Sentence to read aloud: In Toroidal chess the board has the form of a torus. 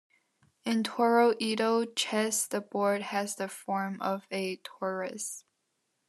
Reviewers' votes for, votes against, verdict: 2, 0, accepted